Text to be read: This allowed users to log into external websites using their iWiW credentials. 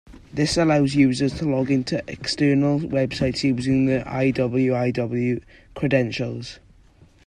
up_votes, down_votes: 2, 1